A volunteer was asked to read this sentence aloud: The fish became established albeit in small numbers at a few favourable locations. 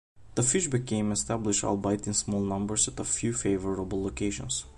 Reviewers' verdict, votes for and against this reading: rejected, 1, 2